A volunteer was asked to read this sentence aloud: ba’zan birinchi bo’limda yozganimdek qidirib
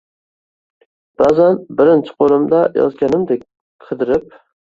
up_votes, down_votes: 2, 0